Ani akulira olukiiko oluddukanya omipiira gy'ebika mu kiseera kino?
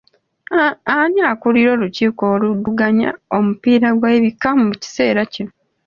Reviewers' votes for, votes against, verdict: 2, 1, accepted